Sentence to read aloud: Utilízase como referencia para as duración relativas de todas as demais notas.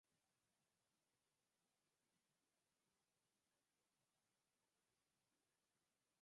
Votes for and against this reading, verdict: 0, 4, rejected